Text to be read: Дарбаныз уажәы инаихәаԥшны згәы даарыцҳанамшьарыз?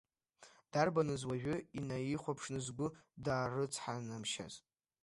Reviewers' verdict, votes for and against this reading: rejected, 0, 2